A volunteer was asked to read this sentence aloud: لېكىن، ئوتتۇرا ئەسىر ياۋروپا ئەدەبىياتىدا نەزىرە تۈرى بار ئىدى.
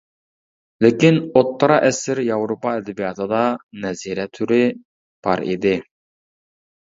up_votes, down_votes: 2, 0